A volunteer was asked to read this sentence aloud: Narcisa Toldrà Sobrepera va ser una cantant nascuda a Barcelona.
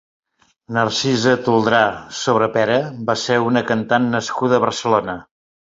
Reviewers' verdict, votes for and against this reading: accepted, 3, 0